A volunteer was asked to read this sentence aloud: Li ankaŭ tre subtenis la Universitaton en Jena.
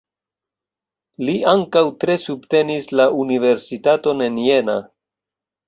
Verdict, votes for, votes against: accepted, 2, 1